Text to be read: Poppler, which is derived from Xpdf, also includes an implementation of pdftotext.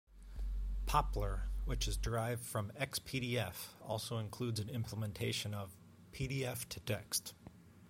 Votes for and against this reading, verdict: 3, 0, accepted